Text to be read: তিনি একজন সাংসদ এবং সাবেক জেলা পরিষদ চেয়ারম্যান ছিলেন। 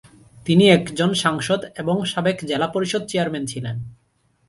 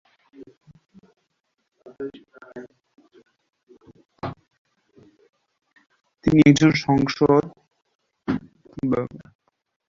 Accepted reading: first